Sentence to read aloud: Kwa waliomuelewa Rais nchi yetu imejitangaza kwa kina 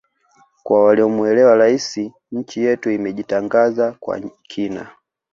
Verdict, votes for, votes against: accepted, 2, 0